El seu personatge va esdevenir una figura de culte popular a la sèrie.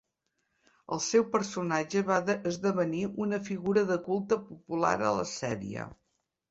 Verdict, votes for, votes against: rejected, 1, 3